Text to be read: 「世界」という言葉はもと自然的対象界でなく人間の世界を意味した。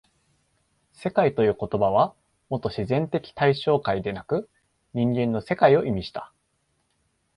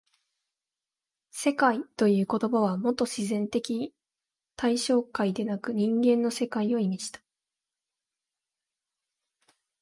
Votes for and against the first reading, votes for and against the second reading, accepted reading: 2, 0, 1, 2, first